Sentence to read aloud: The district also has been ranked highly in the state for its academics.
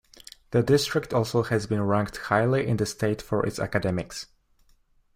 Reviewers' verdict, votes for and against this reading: accepted, 2, 0